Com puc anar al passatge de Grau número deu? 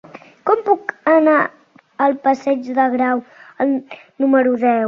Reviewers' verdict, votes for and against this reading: rejected, 1, 2